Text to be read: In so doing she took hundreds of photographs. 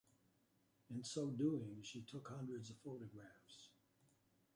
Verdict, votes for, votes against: accepted, 2, 1